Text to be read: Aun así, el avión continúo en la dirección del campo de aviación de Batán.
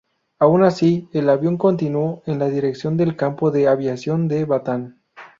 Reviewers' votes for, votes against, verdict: 4, 0, accepted